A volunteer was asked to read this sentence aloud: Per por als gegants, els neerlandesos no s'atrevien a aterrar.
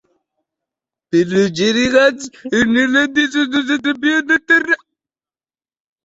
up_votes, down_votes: 1, 2